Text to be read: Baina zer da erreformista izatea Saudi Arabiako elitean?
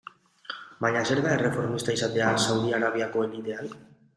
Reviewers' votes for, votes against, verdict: 2, 0, accepted